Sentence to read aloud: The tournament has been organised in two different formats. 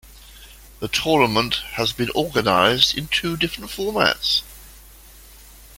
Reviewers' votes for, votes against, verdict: 2, 0, accepted